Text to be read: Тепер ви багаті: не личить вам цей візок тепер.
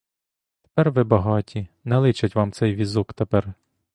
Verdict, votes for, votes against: accepted, 2, 0